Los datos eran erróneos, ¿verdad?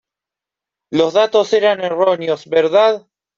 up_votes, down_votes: 2, 0